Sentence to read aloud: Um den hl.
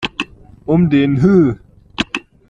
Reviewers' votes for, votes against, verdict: 1, 2, rejected